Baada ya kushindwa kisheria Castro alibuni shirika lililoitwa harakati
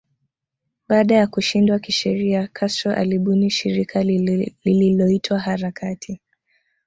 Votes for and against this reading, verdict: 2, 0, accepted